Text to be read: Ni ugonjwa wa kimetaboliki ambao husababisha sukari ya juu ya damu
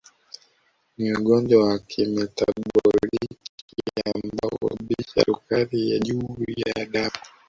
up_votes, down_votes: 0, 2